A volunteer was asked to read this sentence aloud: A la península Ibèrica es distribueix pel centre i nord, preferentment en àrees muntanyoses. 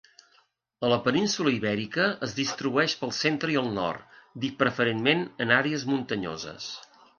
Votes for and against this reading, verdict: 1, 3, rejected